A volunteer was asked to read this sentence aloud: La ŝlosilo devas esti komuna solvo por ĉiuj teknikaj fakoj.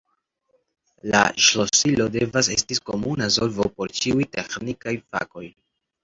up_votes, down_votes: 2, 0